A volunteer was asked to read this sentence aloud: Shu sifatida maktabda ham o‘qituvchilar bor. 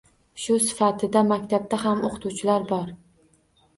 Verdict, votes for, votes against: accepted, 2, 0